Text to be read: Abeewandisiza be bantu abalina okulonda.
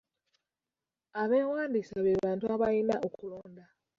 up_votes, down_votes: 0, 2